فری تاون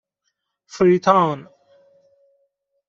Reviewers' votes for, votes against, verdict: 2, 0, accepted